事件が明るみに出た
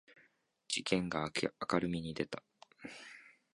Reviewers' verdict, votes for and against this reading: rejected, 1, 2